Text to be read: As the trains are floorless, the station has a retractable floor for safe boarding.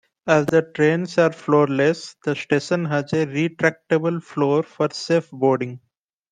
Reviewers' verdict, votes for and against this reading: accepted, 2, 0